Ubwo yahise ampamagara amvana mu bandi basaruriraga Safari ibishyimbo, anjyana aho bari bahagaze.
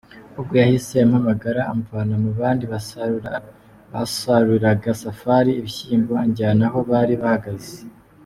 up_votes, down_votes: 1, 2